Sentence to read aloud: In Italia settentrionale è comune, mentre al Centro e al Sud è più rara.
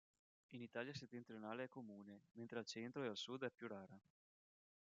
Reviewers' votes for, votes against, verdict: 0, 2, rejected